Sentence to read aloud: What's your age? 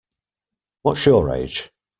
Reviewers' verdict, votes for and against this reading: accepted, 2, 1